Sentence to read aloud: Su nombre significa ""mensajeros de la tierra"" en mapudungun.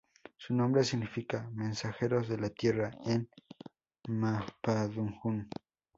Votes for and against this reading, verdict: 0, 2, rejected